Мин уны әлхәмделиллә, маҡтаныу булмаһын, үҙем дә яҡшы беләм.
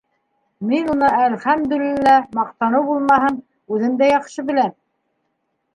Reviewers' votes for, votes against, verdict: 1, 2, rejected